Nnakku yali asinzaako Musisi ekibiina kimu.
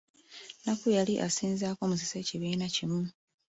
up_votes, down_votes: 0, 2